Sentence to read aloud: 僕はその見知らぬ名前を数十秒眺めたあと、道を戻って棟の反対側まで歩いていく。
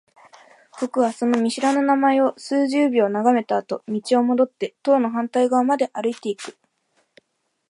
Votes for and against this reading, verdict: 2, 1, accepted